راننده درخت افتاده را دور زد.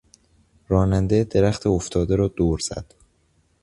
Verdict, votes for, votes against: accepted, 2, 0